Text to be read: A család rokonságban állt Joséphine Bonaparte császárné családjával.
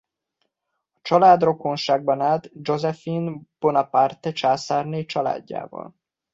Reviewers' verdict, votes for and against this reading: accepted, 2, 0